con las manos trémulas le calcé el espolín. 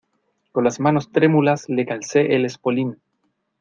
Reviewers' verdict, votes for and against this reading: accepted, 2, 0